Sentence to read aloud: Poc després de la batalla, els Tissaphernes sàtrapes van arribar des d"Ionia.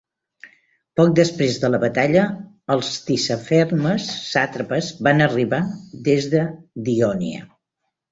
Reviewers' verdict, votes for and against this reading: accepted, 2, 0